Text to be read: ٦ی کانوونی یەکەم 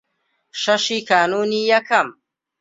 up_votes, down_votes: 0, 2